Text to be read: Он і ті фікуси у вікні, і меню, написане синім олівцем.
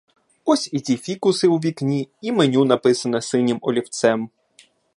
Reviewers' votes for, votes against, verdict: 0, 2, rejected